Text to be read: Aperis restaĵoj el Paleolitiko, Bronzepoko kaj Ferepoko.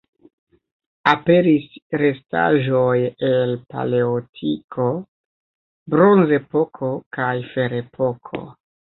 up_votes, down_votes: 0, 2